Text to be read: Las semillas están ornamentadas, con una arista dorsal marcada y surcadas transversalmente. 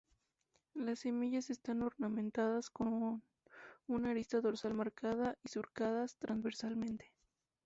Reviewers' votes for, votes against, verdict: 0, 4, rejected